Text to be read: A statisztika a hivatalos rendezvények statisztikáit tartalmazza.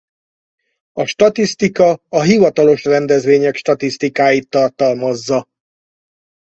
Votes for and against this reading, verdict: 4, 0, accepted